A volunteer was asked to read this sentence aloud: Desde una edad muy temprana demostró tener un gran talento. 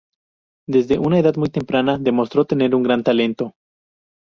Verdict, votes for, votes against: accepted, 4, 0